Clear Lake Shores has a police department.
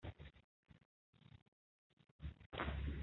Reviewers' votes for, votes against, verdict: 0, 2, rejected